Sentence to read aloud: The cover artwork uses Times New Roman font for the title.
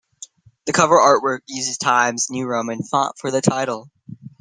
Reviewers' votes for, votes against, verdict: 2, 1, accepted